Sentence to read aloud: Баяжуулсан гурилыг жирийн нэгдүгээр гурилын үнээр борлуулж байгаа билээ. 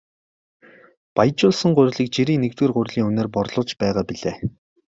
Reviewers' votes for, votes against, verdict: 8, 0, accepted